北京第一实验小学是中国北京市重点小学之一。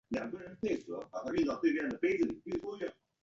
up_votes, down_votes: 0, 2